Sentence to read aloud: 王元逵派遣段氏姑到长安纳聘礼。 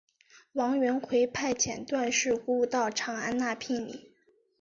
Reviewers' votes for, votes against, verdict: 4, 0, accepted